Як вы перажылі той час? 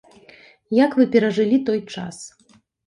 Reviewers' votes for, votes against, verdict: 2, 0, accepted